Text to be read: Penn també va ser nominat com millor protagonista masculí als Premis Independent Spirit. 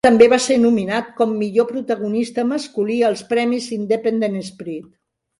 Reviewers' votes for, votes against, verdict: 0, 2, rejected